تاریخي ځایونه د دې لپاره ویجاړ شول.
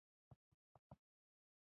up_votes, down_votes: 1, 2